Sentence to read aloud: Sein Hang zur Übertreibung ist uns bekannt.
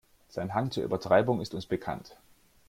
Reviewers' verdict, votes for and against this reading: accepted, 2, 0